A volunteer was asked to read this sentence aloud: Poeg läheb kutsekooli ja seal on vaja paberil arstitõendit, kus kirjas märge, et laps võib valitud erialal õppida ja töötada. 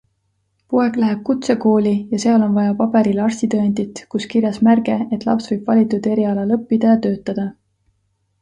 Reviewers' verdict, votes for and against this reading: accepted, 2, 0